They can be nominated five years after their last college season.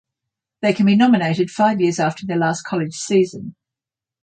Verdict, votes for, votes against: accepted, 6, 0